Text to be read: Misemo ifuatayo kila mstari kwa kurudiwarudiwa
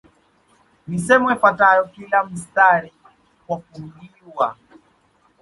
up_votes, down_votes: 1, 2